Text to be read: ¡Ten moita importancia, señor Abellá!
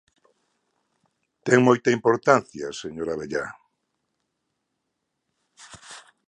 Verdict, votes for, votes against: accepted, 2, 0